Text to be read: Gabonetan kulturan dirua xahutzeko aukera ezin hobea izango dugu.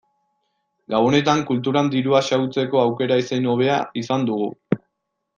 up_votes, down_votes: 0, 2